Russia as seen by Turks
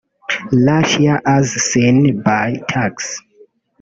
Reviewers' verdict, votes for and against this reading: rejected, 1, 2